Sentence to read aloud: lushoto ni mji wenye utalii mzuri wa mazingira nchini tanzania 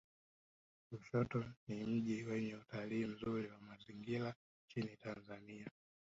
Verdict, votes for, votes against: rejected, 1, 2